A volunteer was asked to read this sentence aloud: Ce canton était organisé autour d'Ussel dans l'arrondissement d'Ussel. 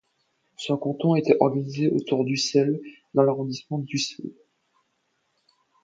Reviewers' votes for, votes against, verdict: 1, 2, rejected